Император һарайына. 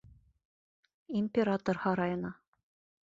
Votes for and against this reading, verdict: 2, 0, accepted